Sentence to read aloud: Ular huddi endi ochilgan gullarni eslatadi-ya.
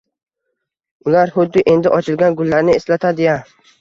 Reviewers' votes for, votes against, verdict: 2, 0, accepted